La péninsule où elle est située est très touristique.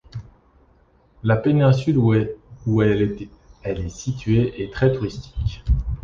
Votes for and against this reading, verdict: 0, 2, rejected